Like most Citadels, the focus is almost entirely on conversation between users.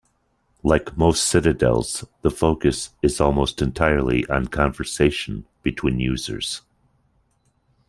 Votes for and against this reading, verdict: 2, 0, accepted